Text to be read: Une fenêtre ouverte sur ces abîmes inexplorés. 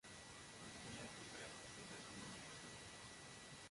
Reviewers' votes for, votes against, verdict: 1, 2, rejected